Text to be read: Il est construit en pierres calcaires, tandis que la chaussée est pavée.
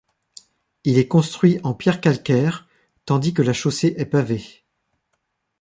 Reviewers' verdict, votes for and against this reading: accepted, 2, 0